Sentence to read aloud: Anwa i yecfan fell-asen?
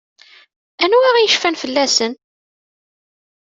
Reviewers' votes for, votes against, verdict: 2, 0, accepted